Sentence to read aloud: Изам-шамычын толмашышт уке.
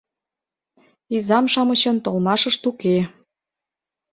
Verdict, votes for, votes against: accepted, 2, 0